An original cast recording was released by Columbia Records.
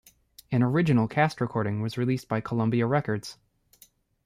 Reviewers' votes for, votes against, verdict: 0, 2, rejected